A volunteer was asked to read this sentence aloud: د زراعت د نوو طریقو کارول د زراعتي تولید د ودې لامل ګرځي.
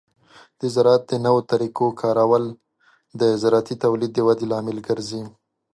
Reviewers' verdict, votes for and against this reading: accepted, 2, 0